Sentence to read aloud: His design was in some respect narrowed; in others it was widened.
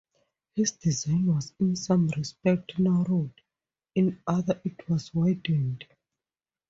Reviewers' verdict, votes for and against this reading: rejected, 0, 2